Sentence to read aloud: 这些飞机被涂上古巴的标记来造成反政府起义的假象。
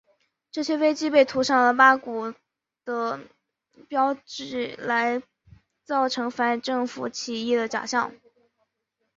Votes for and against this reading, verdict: 1, 2, rejected